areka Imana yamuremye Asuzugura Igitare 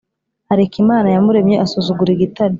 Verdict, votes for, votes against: accepted, 2, 0